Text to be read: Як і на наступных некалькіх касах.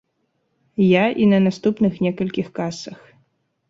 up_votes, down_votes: 1, 2